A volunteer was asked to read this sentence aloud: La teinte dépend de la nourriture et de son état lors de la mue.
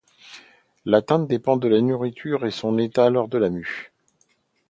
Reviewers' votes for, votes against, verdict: 0, 2, rejected